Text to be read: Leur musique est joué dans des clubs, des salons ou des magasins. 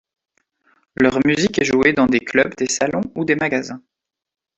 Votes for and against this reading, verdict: 2, 1, accepted